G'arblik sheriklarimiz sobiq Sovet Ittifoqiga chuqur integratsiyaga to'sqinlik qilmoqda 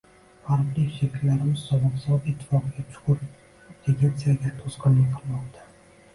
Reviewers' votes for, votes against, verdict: 1, 2, rejected